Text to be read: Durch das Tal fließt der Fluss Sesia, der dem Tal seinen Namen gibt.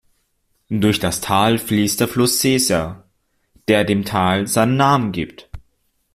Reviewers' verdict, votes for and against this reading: rejected, 1, 2